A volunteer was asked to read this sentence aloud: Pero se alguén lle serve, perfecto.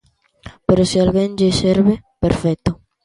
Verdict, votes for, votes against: accepted, 2, 0